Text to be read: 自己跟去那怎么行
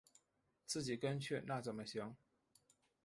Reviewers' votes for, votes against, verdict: 6, 0, accepted